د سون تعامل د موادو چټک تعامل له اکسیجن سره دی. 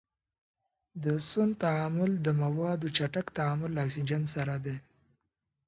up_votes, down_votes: 2, 0